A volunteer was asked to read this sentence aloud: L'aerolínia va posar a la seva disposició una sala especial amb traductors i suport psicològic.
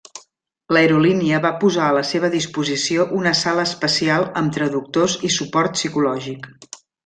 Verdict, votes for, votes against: accepted, 3, 0